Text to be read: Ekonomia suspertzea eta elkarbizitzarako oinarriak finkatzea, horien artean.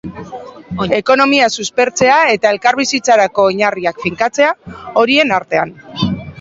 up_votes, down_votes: 2, 0